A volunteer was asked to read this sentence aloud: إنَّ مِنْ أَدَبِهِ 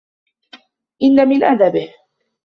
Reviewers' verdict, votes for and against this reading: accepted, 2, 0